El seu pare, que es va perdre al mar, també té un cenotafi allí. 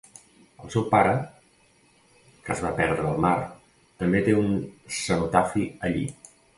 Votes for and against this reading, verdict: 0, 2, rejected